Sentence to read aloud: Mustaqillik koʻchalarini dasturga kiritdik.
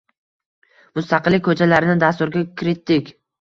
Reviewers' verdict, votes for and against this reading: rejected, 1, 2